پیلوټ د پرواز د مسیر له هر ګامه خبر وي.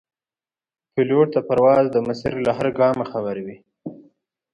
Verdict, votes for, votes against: accepted, 2, 0